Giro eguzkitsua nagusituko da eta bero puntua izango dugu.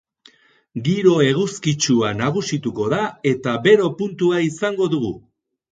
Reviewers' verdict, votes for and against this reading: rejected, 2, 2